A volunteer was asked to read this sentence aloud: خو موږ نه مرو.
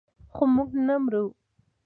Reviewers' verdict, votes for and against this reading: accepted, 2, 0